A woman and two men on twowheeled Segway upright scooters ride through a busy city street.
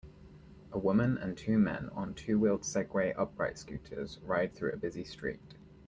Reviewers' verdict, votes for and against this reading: rejected, 1, 2